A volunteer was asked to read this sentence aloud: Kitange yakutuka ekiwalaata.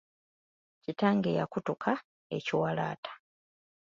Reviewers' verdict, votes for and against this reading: accepted, 2, 0